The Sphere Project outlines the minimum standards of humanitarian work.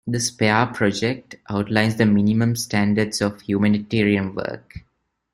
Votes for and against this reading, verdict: 0, 2, rejected